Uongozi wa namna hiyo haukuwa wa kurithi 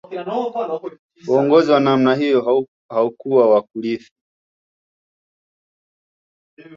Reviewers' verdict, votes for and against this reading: rejected, 1, 2